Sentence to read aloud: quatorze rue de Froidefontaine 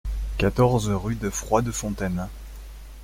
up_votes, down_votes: 2, 0